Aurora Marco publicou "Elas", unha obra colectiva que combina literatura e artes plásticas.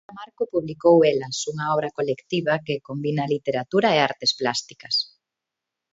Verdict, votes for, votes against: rejected, 1, 2